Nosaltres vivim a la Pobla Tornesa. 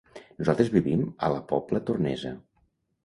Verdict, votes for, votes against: accepted, 2, 0